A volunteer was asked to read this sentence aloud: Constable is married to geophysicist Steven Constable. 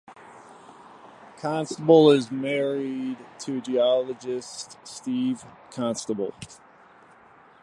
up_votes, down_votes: 1, 2